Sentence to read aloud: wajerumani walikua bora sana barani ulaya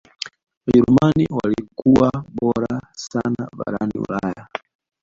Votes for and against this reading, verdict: 1, 2, rejected